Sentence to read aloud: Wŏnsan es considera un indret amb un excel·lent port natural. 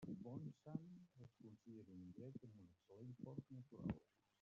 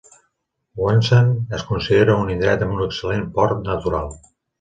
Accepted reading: second